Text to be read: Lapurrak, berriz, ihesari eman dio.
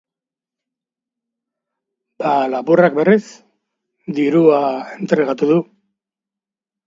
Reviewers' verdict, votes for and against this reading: rejected, 0, 2